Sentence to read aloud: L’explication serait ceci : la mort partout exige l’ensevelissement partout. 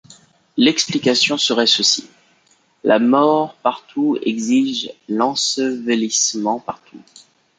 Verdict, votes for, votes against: accepted, 5, 1